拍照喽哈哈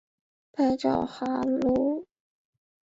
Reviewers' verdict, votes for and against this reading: rejected, 0, 2